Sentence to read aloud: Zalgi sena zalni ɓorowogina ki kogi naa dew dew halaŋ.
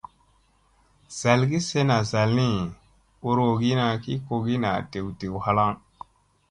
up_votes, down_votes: 2, 0